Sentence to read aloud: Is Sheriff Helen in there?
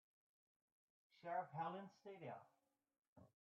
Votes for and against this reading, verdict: 0, 2, rejected